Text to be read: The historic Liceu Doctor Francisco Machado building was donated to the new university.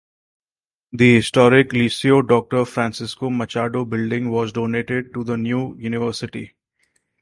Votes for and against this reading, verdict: 4, 0, accepted